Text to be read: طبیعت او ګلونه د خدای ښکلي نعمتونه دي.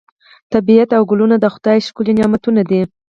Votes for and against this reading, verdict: 4, 0, accepted